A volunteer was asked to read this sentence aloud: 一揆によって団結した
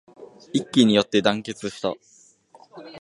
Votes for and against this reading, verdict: 2, 0, accepted